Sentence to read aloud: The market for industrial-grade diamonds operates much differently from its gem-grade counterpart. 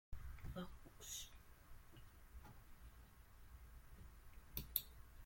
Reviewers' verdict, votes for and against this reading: rejected, 0, 2